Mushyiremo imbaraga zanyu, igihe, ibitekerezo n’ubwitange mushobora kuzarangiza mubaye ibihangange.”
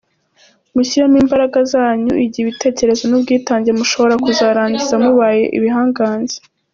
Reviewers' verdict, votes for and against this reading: accepted, 2, 0